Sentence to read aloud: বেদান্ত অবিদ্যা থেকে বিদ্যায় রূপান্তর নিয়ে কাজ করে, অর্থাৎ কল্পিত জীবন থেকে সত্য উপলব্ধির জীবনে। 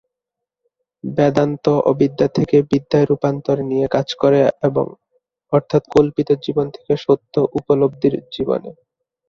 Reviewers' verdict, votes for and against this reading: rejected, 1, 3